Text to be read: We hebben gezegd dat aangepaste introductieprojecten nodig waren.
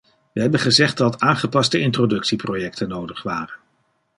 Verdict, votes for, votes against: rejected, 1, 2